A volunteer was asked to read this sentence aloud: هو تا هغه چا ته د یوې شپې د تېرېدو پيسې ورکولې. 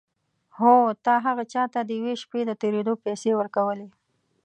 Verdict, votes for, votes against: accepted, 2, 0